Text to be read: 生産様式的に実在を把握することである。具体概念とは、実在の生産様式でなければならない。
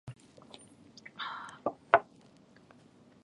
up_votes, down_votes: 1, 2